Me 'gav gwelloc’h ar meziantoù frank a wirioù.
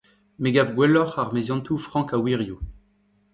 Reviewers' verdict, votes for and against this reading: rejected, 1, 2